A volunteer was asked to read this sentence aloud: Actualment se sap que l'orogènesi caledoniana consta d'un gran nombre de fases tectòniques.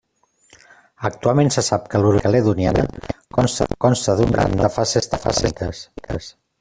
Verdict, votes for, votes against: rejected, 0, 2